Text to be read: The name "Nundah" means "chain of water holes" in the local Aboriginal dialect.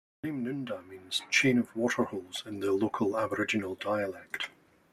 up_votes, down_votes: 2, 0